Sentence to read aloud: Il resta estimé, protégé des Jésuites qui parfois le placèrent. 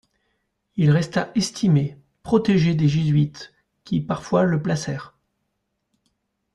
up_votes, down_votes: 2, 0